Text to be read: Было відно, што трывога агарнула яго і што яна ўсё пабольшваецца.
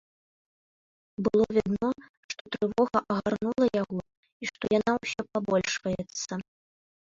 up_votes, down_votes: 0, 2